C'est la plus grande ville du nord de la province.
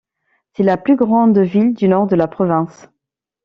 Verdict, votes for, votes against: accepted, 2, 1